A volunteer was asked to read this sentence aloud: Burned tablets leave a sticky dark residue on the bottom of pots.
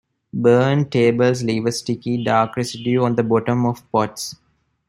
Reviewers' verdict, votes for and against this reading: accepted, 2, 0